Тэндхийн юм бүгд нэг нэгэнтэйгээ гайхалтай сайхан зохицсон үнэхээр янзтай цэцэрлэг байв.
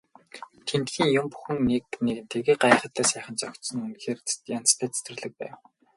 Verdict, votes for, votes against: accepted, 4, 0